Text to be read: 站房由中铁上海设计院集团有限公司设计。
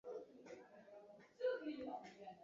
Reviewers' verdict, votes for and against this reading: rejected, 0, 2